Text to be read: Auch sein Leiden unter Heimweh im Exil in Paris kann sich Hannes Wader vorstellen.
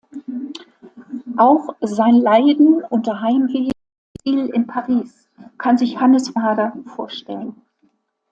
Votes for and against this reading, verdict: 0, 2, rejected